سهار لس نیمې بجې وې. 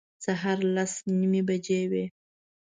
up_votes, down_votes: 2, 0